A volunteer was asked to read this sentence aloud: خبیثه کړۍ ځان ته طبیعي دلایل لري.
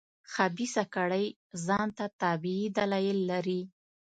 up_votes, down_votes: 1, 2